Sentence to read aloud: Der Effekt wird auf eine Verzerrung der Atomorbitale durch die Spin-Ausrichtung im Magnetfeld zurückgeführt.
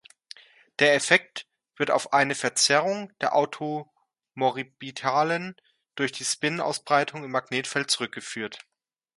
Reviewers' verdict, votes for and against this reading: rejected, 0, 2